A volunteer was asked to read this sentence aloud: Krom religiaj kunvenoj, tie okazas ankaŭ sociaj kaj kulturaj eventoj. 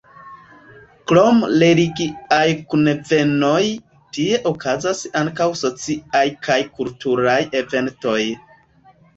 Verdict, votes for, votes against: accepted, 2, 0